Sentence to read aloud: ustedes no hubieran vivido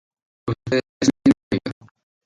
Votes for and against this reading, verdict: 2, 4, rejected